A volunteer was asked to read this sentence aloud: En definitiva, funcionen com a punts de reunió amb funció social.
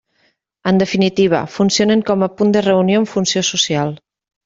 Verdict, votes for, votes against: rejected, 1, 2